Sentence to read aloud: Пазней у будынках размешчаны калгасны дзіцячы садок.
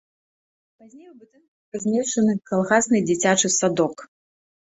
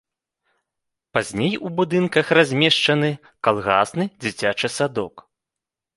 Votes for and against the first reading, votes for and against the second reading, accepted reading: 1, 2, 3, 0, second